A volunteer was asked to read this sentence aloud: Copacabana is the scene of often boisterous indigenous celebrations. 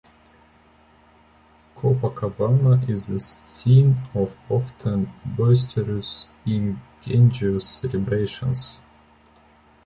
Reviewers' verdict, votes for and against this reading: accepted, 2, 1